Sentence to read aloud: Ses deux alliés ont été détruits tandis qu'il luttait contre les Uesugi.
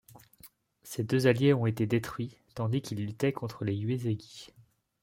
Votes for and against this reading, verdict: 0, 2, rejected